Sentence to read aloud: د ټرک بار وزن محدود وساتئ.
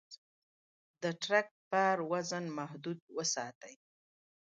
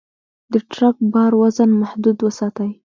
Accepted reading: second